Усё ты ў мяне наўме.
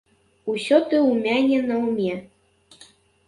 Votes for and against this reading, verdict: 1, 3, rejected